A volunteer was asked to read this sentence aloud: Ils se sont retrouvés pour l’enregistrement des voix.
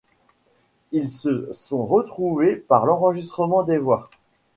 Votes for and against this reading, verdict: 1, 2, rejected